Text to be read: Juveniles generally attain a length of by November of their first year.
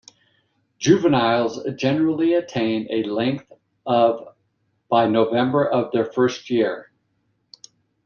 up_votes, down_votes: 2, 0